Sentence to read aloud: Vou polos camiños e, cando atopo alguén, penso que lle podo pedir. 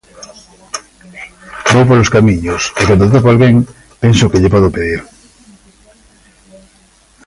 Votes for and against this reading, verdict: 1, 2, rejected